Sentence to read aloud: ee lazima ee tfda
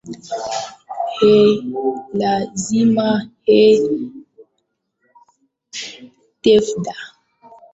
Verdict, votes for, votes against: rejected, 0, 2